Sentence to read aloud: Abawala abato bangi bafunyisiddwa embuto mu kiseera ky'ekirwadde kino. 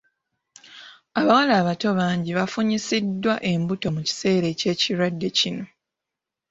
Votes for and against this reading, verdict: 2, 1, accepted